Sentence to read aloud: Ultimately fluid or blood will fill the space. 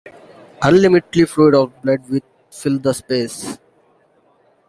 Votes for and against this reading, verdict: 0, 2, rejected